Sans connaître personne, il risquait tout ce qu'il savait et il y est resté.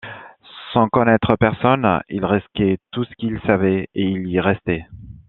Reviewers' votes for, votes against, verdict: 2, 0, accepted